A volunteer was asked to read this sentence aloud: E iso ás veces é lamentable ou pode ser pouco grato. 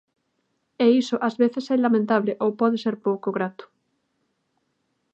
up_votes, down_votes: 3, 0